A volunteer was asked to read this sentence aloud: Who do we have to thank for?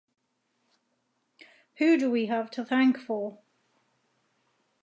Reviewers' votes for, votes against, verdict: 2, 0, accepted